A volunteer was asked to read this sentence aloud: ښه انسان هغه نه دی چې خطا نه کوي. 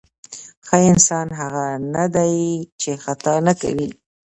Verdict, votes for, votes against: accepted, 2, 0